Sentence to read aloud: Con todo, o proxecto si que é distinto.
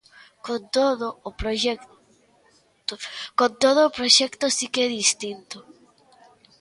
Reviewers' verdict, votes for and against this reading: rejected, 0, 2